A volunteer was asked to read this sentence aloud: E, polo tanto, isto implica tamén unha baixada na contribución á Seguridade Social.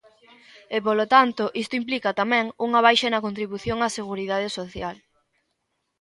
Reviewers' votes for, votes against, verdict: 1, 2, rejected